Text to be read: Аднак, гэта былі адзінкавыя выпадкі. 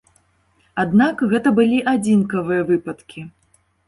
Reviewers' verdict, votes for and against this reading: accepted, 2, 0